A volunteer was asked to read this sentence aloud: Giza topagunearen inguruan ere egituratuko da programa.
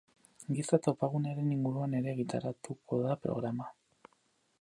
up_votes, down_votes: 0, 4